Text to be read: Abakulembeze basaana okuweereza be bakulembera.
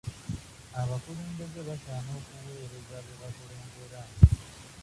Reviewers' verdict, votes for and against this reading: rejected, 0, 2